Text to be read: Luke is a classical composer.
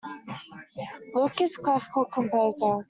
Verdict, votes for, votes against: rejected, 1, 2